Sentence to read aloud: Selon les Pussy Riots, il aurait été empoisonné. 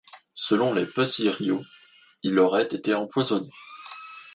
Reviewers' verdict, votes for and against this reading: rejected, 1, 2